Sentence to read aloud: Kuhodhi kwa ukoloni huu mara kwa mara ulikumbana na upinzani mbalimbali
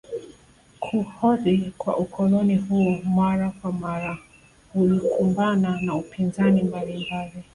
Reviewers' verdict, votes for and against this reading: rejected, 1, 3